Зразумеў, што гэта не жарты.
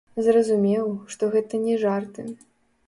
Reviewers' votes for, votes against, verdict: 2, 3, rejected